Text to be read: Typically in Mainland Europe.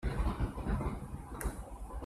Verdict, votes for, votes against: rejected, 0, 2